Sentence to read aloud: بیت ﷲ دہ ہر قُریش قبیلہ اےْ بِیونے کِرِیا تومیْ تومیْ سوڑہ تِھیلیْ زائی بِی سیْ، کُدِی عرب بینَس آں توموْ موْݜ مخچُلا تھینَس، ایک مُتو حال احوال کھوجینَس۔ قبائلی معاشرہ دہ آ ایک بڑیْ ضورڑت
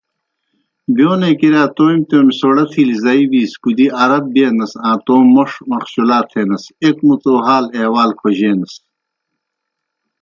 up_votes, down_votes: 1, 2